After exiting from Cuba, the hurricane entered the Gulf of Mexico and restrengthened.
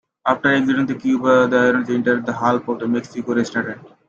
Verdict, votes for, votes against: accepted, 2, 1